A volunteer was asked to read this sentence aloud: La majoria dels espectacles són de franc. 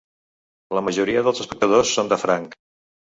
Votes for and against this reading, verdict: 0, 2, rejected